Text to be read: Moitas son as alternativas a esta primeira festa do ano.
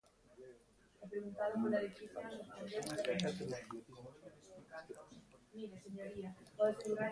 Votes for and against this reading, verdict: 0, 2, rejected